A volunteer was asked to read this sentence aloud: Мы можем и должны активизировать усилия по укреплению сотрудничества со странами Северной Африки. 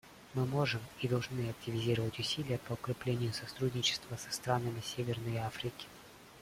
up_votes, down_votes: 0, 2